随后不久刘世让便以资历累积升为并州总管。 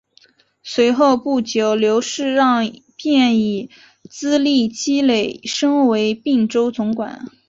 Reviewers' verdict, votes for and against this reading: rejected, 1, 2